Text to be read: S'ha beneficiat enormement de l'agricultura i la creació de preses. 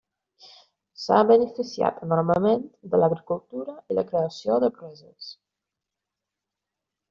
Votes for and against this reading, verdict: 1, 2, rejected